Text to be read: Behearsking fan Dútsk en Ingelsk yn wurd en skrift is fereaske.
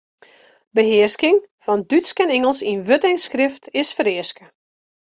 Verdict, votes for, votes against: accepted, 2, 0